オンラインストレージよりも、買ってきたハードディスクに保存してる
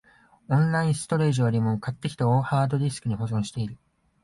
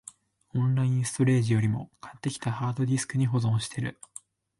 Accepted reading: second